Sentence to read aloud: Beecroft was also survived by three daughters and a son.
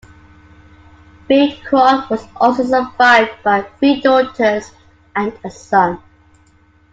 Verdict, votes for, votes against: accepted, 2, 0